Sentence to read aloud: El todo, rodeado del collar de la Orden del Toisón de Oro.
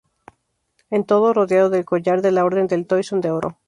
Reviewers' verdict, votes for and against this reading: rejected, 0, 2